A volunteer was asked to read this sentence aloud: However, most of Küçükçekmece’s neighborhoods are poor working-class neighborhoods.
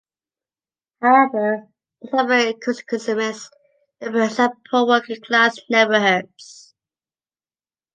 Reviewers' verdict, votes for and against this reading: rejected, 0, 2